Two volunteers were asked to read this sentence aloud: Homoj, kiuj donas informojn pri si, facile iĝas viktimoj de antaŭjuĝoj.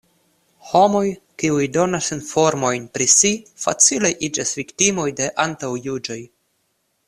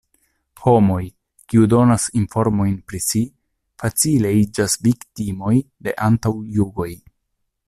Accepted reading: first